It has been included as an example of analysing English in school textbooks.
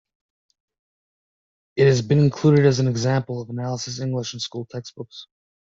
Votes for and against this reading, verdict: 1, 2, rejected